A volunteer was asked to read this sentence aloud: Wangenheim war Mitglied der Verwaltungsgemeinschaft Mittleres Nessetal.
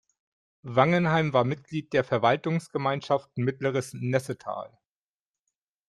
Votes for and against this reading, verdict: 2, 0, accepted